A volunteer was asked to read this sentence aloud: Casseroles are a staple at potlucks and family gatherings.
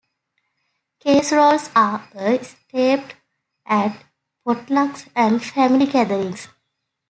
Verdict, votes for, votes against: rejected, 0, 2